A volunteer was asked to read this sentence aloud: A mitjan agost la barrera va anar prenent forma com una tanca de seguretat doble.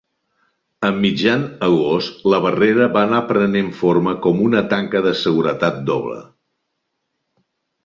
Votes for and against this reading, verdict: 2, 0, accepted